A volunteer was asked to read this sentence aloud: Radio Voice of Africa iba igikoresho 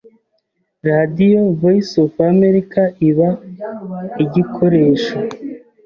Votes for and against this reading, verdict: 0, 2, rejected